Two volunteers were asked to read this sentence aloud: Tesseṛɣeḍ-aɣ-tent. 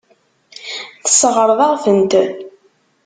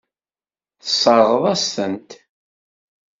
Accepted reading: second